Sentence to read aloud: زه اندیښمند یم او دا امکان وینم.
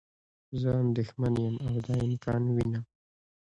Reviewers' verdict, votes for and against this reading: rejected, 0, 2